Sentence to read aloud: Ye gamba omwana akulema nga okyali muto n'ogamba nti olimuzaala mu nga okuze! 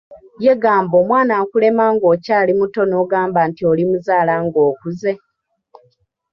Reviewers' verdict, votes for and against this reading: accepted, 2, 0